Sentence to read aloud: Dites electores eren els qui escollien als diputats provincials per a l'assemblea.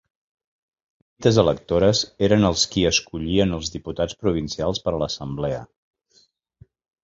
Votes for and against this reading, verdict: 1, 2, rejected